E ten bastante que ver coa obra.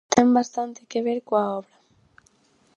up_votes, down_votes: 0, 4